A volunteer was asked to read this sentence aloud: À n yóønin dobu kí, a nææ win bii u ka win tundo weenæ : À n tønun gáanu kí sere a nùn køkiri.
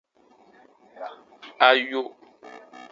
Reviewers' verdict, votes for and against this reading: rejected, 0, 2